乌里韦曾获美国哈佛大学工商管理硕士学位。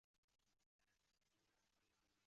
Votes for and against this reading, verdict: 0, 2, rejected